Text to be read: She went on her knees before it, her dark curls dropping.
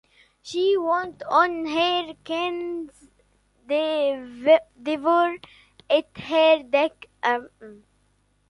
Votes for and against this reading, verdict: 0, 2, rejected